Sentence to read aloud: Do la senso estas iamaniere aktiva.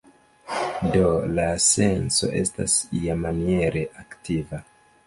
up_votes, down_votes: 0, 2